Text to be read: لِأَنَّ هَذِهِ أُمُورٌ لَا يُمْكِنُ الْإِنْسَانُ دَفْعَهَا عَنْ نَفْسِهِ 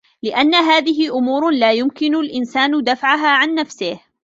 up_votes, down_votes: 2, 1